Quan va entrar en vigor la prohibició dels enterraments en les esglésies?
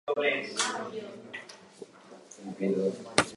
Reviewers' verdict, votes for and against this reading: rejected, 0, 2